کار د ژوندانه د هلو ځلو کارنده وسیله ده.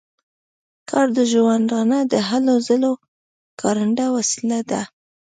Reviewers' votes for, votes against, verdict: 3, 0, accepted